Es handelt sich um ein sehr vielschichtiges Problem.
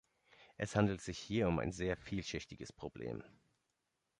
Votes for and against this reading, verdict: 0, 2, rejected